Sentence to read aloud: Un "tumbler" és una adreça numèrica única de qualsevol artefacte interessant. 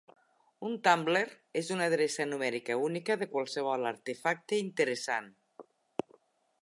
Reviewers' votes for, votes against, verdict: 2, 0, accepted